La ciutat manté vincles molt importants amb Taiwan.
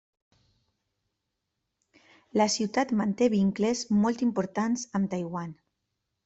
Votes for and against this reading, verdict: 1, 2, rejected